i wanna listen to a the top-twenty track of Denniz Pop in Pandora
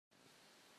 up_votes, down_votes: 0, 2